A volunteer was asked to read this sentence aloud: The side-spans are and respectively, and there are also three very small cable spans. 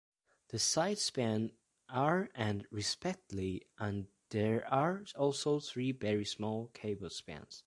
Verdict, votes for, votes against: rejected, 0, 2